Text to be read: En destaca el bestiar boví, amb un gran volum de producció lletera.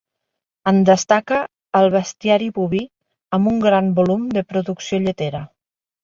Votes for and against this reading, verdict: 0, 2, rejected